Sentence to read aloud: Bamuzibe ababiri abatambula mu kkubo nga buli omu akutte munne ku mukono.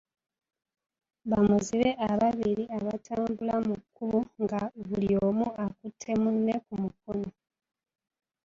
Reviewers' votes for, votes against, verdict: 0, 2, rejected